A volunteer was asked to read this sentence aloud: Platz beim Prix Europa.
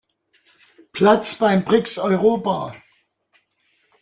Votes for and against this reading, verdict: 0, 2, rejected